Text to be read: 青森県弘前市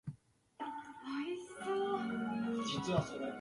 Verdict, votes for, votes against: rejected, 1, 2